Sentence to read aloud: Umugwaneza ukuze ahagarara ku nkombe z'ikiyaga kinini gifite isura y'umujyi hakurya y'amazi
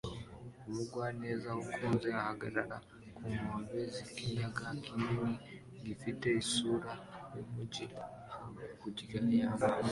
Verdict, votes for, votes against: accepted, 2, 1